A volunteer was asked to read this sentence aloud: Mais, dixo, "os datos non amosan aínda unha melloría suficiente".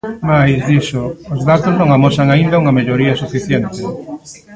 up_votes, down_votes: 0, 2